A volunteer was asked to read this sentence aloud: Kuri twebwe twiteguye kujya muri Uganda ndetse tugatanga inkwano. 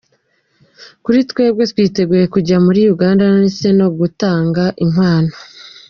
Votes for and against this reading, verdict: 1, 2, rejected